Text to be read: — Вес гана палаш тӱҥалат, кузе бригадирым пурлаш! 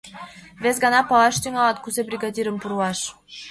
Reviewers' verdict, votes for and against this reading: accepted, 2, 0